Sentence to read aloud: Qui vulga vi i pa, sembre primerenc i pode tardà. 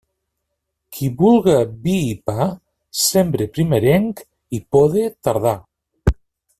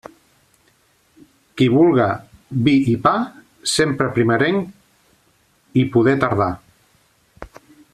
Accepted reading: first